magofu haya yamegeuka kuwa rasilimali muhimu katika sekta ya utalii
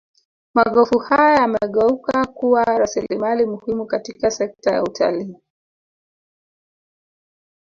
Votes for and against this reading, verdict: 0, 2, rejected